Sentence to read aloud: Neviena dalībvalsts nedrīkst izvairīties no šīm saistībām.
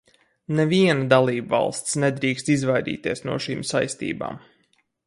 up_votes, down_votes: 2, 2